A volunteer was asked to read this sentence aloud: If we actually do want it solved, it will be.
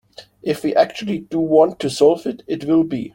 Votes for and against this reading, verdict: 0, 2, rejected